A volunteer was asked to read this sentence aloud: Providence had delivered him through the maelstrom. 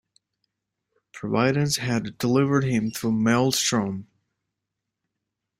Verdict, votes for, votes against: rejected, 0, 2